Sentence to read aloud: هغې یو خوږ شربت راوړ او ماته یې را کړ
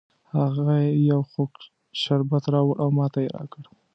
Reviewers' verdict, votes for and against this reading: accepted, 2, 0